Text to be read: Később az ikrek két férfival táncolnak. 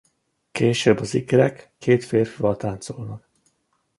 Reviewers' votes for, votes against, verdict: 2, 0, accepted